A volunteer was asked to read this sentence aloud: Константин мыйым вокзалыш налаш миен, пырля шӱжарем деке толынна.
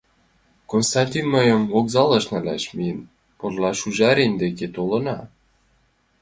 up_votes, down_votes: 1, 6